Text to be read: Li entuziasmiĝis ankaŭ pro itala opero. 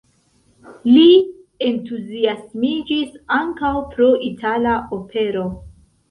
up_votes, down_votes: 2, 1